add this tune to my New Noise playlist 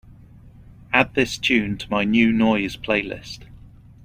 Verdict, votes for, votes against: accepted, 3, 0